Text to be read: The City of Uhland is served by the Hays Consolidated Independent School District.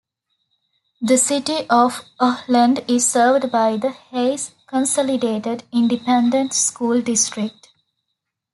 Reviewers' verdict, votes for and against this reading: rejected, 0, 2